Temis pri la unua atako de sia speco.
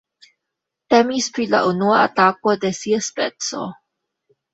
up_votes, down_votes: 2, 1